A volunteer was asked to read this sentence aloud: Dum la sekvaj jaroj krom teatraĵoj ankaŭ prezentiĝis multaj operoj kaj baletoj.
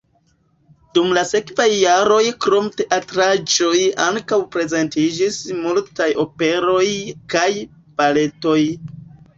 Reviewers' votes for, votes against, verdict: 2, 0, accepted